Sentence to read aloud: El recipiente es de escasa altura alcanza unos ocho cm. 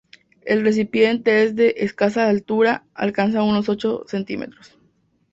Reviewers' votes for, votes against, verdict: 2, 0, accepted